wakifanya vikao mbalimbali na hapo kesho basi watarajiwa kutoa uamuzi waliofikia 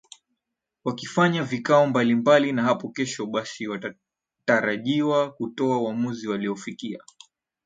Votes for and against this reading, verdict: 2, 0, accepted